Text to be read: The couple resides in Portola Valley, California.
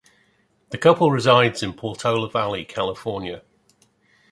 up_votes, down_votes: 2, 0